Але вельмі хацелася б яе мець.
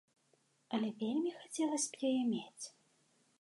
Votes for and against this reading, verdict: 2, 0, accepted